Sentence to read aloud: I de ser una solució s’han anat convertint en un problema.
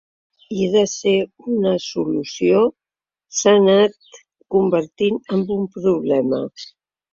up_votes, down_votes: 1, 2